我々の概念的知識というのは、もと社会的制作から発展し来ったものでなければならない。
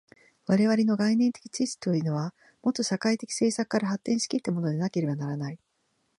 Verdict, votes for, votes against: accepted, 2, 0